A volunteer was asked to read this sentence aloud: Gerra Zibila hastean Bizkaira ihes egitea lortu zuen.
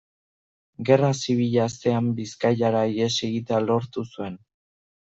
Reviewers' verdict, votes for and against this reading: rejected, 1, 2